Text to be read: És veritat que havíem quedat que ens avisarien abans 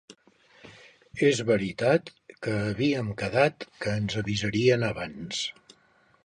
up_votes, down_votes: 3, 0